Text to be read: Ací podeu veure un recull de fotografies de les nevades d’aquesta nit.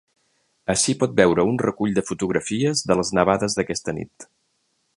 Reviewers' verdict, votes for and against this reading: rejected, 1, 2